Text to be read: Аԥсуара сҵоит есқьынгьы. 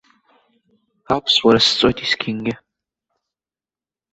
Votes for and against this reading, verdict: 2, 0, accepted